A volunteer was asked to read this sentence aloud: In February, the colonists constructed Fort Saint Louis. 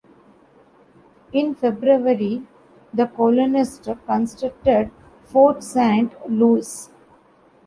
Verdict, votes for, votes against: rejected, 0, 2